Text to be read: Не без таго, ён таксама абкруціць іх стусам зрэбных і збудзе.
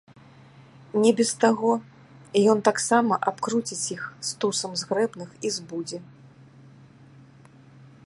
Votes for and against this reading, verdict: 1, 2, rejected